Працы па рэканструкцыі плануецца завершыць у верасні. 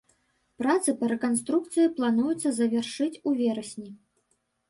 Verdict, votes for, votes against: accepted, 3, 0